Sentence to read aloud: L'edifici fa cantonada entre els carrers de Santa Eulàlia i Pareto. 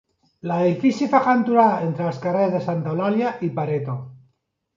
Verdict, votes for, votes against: accepted, 2, 1